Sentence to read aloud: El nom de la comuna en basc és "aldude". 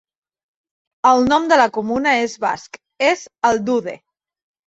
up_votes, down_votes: 1, 2